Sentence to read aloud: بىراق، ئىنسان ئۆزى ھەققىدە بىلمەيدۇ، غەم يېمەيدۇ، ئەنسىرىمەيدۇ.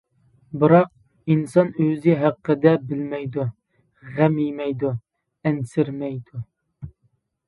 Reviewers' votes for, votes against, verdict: 2, 0, accepted